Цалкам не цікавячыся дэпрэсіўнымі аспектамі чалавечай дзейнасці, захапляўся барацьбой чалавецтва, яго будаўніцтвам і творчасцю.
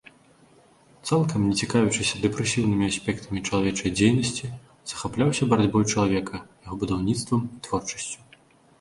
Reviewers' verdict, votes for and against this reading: rejected, 1, 2